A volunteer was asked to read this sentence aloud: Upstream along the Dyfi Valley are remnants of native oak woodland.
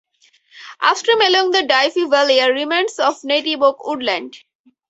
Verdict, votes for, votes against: accepted, 4, 2